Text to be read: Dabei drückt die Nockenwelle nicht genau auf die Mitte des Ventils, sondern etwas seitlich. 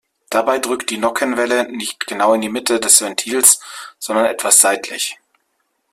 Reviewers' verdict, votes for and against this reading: rejected, 1, 2